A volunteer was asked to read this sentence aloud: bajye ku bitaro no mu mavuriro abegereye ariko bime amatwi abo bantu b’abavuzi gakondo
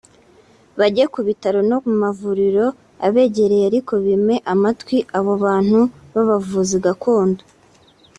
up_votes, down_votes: 2, 0